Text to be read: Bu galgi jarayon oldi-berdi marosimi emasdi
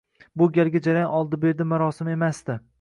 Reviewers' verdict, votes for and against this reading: rejected, 0, 2